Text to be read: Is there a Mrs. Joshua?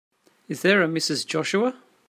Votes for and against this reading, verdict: 2, 0, accepted